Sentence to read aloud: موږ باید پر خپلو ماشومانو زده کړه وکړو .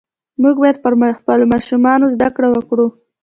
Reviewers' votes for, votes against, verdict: 2, 0, accepted